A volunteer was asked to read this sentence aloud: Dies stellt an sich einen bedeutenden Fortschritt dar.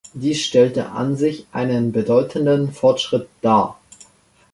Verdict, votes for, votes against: accepted, 2, 0